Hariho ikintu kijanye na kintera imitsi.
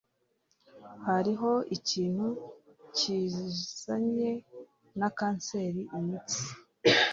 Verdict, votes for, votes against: rejected, 0, 2